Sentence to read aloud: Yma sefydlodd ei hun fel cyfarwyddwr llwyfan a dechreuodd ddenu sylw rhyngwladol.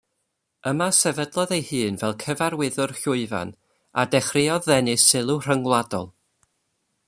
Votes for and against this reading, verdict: 2, 0, accepted